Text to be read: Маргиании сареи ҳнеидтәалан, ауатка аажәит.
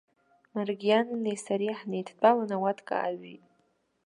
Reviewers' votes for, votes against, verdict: 2, 0, accepted